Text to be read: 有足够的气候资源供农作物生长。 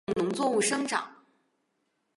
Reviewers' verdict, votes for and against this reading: rejected, 0, 3